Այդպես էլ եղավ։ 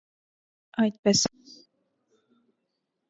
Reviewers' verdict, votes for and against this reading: rejected, 0, 2